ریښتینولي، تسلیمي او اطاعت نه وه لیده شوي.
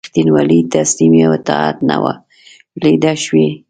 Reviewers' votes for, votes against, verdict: 0, 2, rejected